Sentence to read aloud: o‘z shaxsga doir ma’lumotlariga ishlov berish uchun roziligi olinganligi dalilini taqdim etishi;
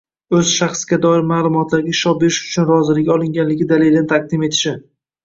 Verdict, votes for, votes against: rejected, 0, 2